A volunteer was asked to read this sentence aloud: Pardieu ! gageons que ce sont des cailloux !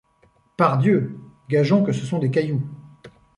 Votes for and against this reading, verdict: 2, 0, accepted